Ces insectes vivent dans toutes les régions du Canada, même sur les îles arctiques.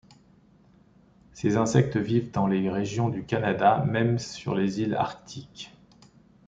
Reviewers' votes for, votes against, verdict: 0, 2, rejected